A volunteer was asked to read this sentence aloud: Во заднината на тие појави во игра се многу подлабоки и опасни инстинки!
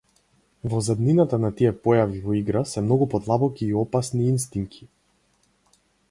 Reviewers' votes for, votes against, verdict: 4, 0, accepted